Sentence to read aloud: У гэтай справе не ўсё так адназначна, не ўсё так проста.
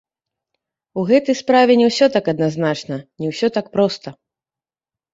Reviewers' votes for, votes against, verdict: 0, 2, rejected